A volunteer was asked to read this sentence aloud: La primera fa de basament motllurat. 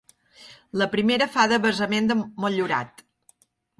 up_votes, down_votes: 0, 2